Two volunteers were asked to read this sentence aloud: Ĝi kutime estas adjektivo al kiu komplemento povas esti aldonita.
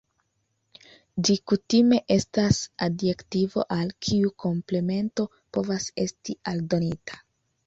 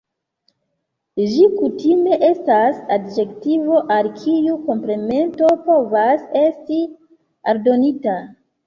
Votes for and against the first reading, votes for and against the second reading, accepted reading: 2, 0, 1, 2, first